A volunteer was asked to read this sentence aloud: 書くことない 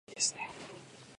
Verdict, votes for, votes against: rejected, 5, 7